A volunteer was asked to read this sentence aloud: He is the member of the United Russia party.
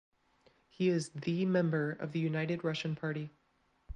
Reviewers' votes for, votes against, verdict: 0, 2, rejected